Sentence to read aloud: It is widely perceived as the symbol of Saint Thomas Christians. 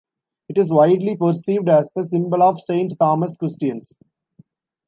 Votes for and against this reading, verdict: 2, 0, accepted